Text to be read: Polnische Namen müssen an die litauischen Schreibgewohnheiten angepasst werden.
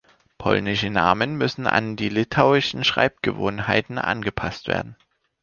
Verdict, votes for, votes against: accepted, 2, 0